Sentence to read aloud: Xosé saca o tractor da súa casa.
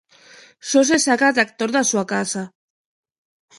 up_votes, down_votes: 0, 3